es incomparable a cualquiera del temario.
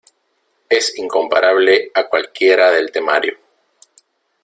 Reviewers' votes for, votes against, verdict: 2, 0, accepted